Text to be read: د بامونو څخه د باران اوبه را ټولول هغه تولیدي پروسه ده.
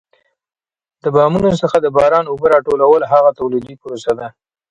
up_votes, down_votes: 2, 1